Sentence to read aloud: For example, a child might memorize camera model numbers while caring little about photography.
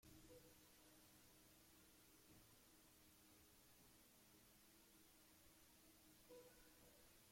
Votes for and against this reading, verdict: 0, 2, rejected